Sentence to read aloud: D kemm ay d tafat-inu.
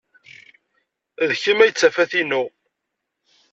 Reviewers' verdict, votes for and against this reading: accepted, 2, 0